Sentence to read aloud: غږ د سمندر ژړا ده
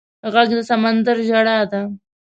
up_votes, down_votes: 2, 0